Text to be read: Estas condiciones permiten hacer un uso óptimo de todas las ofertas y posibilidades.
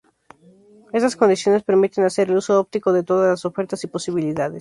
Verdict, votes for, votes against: rejected, 0, 2